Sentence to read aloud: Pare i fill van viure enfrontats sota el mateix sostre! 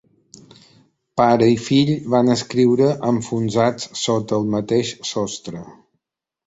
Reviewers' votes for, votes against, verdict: 1, 2, rejected